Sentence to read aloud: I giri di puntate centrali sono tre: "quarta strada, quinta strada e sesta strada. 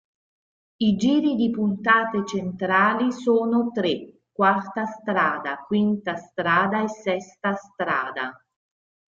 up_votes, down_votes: 3, 0